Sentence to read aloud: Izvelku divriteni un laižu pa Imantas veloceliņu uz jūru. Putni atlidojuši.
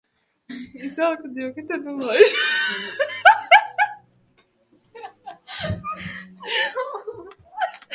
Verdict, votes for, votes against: rejected, 0, 2